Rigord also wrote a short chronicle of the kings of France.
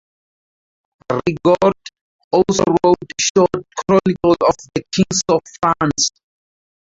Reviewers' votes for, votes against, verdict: 0, 2, rejected